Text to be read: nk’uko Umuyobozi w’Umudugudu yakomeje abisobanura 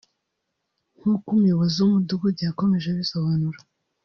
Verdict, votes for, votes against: rejected, 1, 2